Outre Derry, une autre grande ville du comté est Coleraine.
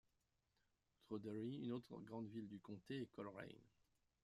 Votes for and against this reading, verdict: 1, 2, rejected